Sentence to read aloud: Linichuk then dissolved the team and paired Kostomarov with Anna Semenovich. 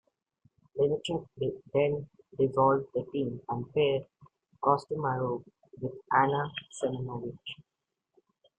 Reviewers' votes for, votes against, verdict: 0, 2, rejected